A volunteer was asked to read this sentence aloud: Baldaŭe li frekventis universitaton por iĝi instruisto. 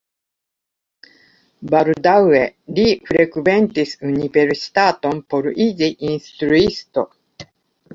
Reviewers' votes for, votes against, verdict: 2, 1, accepted